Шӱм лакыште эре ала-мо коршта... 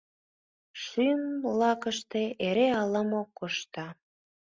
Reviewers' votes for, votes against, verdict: 2, 1, accepted